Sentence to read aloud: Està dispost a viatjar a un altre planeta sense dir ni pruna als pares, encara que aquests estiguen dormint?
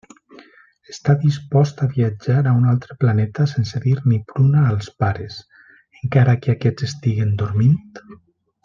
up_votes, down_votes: 2, 0